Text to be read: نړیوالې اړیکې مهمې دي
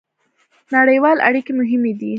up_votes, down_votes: 2, 0